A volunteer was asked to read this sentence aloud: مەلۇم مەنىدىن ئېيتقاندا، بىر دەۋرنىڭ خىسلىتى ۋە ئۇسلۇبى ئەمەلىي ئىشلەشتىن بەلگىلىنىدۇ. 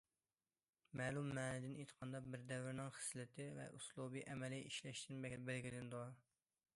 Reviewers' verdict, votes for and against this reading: accepted, 2, 0